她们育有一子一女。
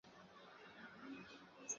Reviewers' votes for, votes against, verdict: 2, 0, accepted